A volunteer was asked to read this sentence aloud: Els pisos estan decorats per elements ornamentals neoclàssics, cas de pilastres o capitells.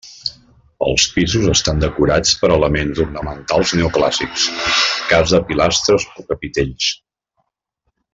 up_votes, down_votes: 3, 1